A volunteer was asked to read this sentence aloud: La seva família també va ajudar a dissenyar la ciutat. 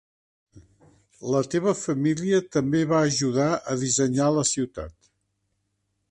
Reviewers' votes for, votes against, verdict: 1, 2, rejected